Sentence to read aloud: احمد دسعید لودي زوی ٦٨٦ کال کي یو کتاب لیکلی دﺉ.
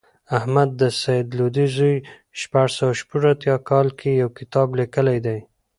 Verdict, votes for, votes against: rejected, 0, 2